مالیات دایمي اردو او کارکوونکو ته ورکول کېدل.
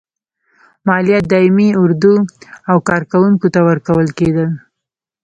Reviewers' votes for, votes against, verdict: 1, 2, rejected